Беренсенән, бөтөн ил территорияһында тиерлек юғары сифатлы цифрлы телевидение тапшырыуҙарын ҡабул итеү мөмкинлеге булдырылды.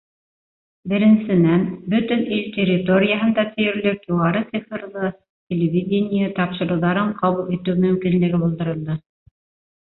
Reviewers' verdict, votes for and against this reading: rejected, 1, 2